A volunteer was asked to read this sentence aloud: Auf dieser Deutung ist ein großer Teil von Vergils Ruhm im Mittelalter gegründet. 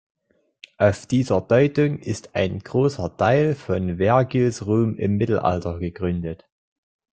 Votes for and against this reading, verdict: 0, 2, rejected